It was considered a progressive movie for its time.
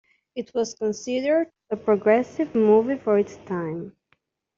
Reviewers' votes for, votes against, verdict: 2, 1, accepted